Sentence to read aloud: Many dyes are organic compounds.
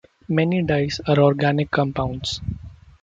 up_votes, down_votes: 2, 0